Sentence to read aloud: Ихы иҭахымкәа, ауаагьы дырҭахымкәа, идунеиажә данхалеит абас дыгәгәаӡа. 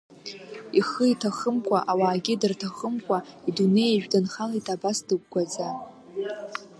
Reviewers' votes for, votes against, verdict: 2, 0, accepted